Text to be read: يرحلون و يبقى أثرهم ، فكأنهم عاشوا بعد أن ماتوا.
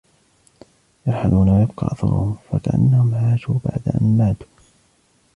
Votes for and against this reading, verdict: 1, 2, rejected